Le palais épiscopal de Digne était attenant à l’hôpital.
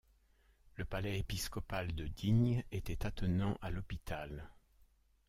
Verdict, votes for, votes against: accepted, 2, 0